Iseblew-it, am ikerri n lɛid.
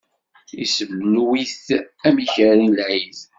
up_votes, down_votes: 1, 2